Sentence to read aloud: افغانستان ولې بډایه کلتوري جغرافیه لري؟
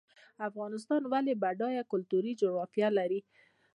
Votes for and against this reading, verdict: 2, 0, accepted